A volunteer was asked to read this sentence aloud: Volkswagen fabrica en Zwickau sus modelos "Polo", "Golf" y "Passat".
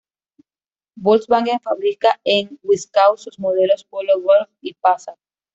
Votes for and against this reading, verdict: 0, 2, rejected